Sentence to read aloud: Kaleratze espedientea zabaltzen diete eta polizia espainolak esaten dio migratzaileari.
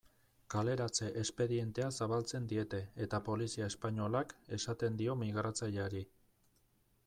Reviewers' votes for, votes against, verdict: 2, 0, accepted